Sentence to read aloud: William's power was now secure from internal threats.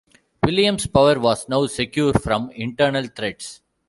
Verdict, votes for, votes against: accepted, 2, 0